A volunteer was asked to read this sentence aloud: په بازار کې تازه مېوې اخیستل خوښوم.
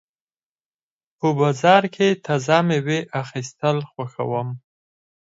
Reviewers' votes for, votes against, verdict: 6, 0, accepted